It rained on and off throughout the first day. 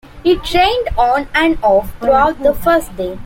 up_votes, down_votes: 2, 0